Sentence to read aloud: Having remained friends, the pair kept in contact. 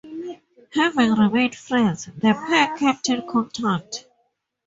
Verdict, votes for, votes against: accepted, 2, 0